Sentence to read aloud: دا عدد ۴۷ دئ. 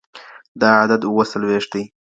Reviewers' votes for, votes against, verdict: 0, 2, rejected